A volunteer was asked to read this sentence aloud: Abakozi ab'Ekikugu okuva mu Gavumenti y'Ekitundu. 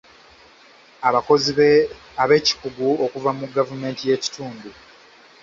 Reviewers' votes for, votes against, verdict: 1, 2, rejected